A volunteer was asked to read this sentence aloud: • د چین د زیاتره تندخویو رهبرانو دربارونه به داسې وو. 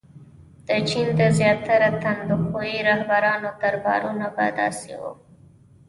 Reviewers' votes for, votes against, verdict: 2, 0, accepted